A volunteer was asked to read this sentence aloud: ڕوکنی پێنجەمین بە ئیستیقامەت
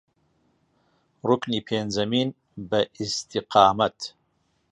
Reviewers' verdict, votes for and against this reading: accepted, 2, 0